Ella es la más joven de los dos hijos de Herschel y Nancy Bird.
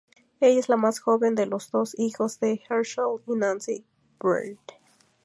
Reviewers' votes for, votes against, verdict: 2, 2, rejected